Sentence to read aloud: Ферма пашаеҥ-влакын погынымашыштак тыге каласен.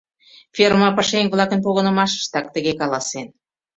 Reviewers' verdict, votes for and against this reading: accepted, 2, 0